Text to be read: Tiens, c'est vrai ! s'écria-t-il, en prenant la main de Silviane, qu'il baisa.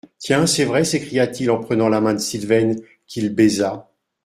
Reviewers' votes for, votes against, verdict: 0, 2, rejected